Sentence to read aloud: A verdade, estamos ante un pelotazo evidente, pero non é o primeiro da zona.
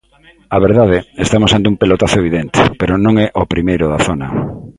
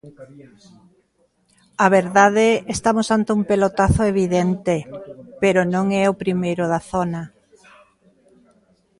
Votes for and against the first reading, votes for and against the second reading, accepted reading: 2, 0, 1, 2, first